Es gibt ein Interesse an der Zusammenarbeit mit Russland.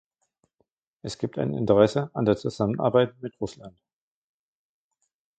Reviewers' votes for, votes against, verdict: 1, 2, rejected